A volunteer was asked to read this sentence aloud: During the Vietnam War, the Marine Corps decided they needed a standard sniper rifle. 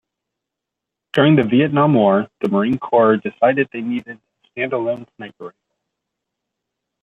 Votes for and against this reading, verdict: 0, 2, rejected